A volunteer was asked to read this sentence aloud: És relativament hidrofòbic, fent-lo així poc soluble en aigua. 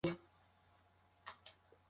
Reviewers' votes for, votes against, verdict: 1, 2, rejected